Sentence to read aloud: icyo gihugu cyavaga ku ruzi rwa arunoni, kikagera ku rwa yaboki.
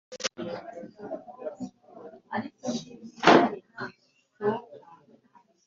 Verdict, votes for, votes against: rejected, 1, 2